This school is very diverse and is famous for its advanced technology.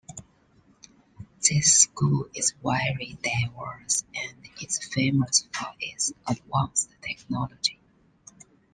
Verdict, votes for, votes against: accepted, 2, 1